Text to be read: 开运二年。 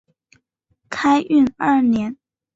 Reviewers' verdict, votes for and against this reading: accepted, 2, 0